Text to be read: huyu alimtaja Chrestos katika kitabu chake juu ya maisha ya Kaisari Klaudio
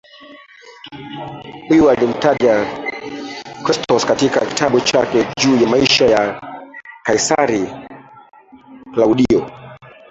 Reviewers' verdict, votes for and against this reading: rejected, 0, 2